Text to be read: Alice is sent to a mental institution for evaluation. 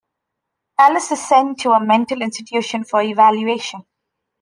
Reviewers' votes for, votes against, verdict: 2, 0, accepted